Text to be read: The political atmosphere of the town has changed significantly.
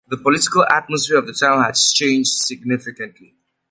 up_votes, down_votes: 3, 0